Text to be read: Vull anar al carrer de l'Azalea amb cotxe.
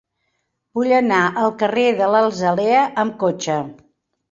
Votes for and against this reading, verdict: 0, 3, rejected